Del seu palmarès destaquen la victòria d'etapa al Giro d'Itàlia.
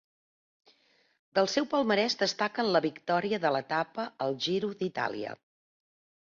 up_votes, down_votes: 1, 2